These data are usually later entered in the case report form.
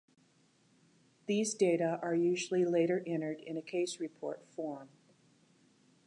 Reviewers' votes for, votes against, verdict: 0, 2, rejected